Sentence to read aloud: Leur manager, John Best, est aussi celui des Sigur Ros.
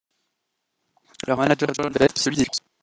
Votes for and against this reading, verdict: 0, 2, rejected